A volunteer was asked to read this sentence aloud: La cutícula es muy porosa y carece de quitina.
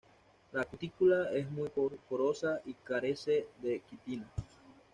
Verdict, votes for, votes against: rejected, 1, 2